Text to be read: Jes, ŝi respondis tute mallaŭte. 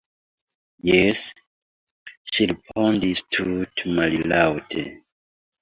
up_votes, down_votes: 0, 2